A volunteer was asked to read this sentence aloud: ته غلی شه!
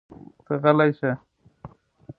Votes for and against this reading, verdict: 2, 0, accepted